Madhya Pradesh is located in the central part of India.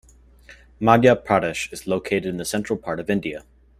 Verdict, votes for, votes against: accepted, 2, 0